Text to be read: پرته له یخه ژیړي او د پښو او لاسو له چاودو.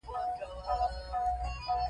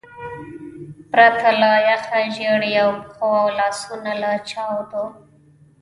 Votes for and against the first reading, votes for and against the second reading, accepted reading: 2, 1, 1, 2, first